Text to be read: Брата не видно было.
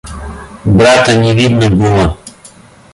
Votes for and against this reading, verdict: 2, 0, accepted